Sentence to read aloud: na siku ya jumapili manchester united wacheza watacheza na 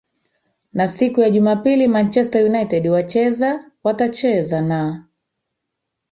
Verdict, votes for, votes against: accepted, 5, 1